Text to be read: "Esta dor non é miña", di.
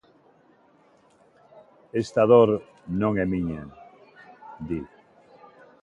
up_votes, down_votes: 2, 0